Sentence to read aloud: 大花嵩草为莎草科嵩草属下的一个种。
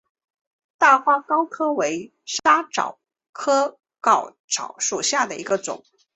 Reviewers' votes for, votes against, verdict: 0, 2, rejected